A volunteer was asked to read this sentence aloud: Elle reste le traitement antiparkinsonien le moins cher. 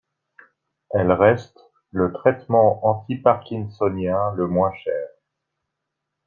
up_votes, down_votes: 2, 0